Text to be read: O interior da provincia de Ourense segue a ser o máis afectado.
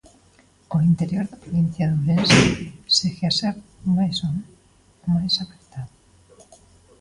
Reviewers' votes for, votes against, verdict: 0, 2, rejected